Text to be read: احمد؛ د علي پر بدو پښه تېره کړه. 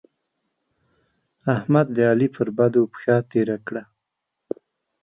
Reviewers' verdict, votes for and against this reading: accepted, 2, 0